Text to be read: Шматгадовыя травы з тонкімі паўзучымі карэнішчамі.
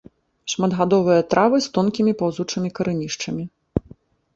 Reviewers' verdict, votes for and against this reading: rejected, 0, 2